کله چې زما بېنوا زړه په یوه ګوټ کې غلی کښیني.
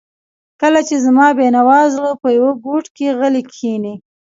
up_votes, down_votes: 1, 2